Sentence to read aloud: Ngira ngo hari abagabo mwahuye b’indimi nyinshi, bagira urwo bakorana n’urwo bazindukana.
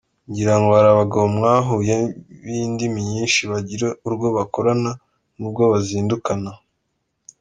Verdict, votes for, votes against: accepted, 2, 0